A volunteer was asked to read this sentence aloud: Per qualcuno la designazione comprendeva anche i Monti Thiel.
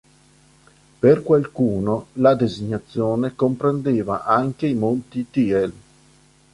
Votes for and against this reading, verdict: 3, 0, accepted